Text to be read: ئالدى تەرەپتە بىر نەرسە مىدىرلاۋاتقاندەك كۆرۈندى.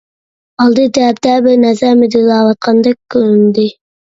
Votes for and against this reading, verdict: 0, 2, rejected